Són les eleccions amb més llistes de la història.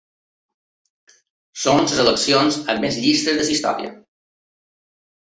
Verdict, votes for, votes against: rejected, 1, 2